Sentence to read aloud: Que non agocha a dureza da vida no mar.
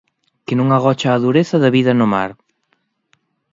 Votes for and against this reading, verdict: 2, 0, accepted